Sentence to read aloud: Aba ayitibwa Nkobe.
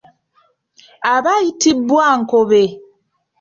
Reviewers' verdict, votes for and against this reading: accepted, 2, 0